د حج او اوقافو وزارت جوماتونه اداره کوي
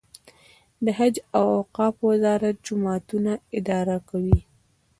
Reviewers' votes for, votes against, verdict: 1, 2, rejected